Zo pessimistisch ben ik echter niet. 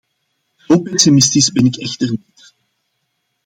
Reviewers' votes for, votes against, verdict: 1, 2, rejected